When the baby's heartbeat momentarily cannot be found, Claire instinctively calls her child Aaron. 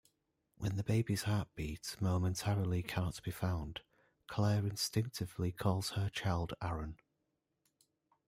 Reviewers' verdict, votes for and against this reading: rejected, 0, 2